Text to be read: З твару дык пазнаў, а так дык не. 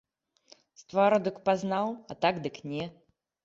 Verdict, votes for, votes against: accepted, 2, 0